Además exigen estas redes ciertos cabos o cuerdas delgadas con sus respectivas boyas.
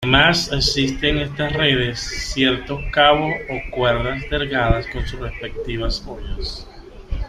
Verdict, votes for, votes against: rejected, 0, 2